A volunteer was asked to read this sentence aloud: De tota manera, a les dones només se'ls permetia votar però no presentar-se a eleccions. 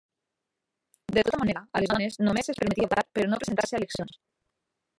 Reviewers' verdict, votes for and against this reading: rejected, 0, 2